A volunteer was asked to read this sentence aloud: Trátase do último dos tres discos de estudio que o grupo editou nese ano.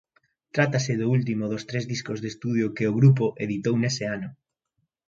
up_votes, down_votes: 2, 0